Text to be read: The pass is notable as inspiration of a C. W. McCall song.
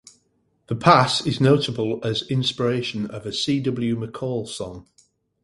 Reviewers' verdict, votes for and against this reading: accepted, 4, 0